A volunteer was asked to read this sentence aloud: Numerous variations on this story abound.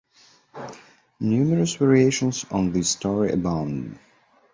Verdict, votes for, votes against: accepted, 2, 0